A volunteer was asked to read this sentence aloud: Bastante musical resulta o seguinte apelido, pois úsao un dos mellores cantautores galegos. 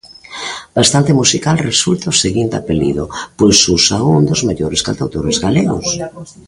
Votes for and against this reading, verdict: 0, 2, rejected